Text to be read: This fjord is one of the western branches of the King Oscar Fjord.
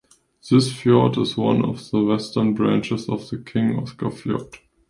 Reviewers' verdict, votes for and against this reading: accepted, 2, 0